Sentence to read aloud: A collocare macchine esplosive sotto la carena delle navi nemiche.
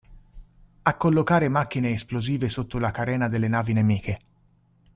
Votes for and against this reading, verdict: 3, 1, accepted